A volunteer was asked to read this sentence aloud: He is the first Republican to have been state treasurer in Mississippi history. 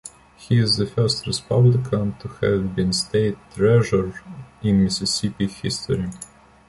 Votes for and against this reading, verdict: 2, 1, accepted